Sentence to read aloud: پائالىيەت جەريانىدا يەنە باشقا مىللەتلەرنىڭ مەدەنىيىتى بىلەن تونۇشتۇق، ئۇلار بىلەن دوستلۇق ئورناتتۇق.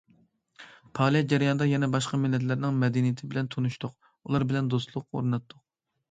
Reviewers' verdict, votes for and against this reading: accepted, 2, 0